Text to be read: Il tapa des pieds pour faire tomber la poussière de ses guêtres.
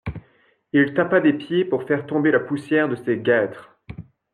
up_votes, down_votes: 2, 0